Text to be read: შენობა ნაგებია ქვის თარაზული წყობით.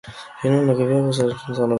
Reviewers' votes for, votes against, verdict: 1, 2, rejected